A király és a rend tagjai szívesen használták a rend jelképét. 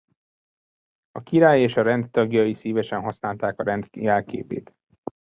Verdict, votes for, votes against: rejected, 1, 2